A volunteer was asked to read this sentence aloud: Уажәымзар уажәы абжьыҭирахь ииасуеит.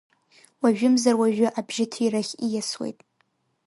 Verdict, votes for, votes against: accepted, 3, 0